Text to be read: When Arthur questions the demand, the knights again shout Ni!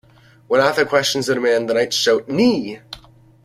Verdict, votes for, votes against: rejected, 1, 2